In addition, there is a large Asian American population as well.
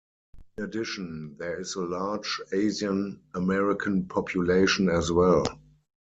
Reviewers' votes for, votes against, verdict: 4, 2, accepted